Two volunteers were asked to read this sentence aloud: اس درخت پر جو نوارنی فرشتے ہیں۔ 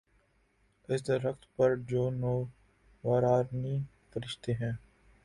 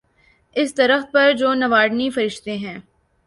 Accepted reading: second